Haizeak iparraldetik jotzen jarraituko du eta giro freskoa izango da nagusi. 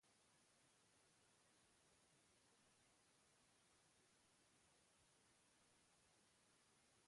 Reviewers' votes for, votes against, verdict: 0, 2, rejected